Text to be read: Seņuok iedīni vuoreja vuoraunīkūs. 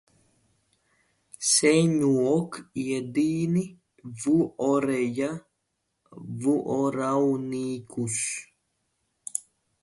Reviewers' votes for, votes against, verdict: 0, 2, rejected